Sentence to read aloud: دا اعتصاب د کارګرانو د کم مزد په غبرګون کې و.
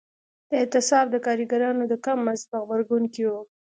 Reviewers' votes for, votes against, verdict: 2, 0, accepted